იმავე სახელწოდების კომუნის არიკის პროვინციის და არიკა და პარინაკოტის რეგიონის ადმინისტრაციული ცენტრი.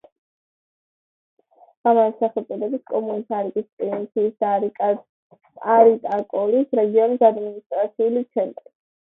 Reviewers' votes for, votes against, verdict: 0, 2, rejected